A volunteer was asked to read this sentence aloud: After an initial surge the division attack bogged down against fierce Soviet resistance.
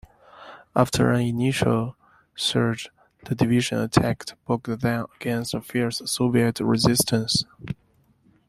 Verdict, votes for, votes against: accepted, 2, 1